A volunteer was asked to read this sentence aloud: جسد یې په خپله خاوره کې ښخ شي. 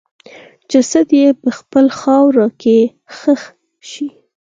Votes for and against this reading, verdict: 4, 2, accepted